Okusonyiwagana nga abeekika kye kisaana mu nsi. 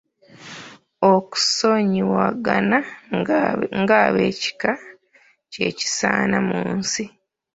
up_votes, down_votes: 2, 4